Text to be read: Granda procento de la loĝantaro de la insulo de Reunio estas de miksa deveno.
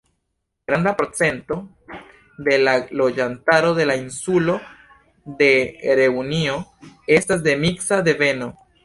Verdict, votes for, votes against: accepted, 2, 0